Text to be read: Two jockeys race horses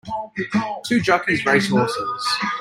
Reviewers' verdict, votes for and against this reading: rejected, 0, 2